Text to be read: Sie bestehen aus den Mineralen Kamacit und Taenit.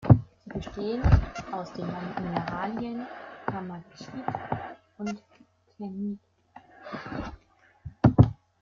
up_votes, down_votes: 0, 2